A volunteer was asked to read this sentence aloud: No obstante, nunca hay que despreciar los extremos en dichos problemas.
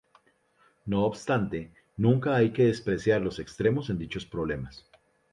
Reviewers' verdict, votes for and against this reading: accepted, 2, 0